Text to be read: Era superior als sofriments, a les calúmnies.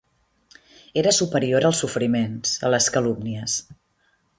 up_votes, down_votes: 2, 0